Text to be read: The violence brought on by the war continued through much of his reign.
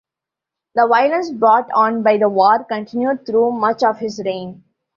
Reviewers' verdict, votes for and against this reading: accepted, 2, 0